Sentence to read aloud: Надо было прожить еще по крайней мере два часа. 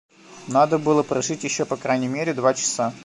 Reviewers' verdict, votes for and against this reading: accepted, 2, 1